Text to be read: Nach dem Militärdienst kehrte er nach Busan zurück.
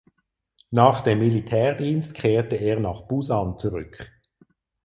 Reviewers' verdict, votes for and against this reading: accepted, 4, 0